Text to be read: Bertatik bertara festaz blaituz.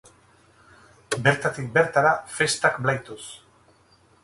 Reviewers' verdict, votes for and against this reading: rejected, 0, 4